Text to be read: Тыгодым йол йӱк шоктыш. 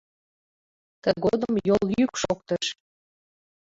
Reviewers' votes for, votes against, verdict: 1, 2, rejected